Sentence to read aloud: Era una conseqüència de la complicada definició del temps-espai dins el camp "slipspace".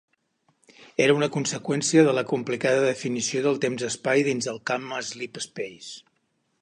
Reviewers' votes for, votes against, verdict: 2, 1, accepted